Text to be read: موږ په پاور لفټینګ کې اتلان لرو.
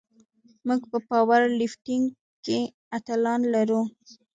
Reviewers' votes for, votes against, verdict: 1, 2, rejected